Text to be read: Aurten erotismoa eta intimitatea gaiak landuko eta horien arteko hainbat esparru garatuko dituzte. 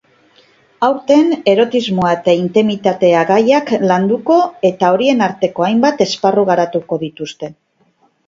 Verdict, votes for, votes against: accepted, 3, 0